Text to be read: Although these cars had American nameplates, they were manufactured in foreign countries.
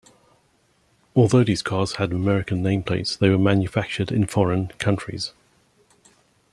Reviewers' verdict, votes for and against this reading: accepted, 2, 0